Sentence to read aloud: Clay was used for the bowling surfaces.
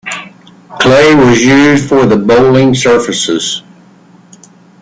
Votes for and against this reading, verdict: 2, 1, accepted